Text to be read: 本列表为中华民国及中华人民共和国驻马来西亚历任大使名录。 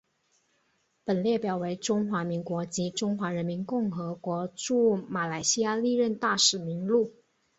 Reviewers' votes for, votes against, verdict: 4, 0, accepted